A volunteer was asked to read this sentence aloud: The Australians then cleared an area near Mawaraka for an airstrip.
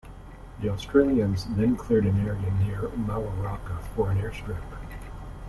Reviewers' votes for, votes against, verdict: 0, 2, rejected